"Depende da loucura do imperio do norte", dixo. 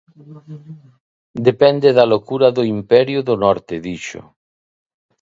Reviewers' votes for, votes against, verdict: 1, 2, rejected